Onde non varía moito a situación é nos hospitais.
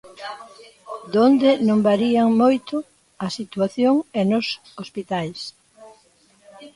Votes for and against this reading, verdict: 0, 2, rejected